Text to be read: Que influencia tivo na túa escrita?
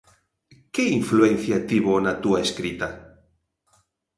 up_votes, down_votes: 2, 0